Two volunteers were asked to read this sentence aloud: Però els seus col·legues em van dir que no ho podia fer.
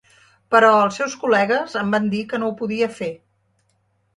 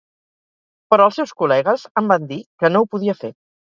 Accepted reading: first